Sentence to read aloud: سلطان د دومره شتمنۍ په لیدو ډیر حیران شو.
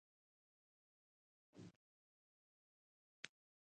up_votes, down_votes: 1, 2